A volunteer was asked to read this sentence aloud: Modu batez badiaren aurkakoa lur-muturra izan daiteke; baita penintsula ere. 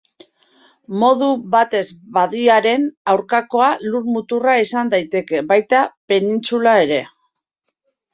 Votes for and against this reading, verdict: 2, 1, accepted